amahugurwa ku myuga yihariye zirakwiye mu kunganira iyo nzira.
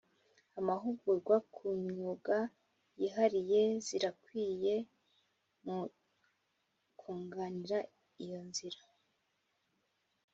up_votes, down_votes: 2, 0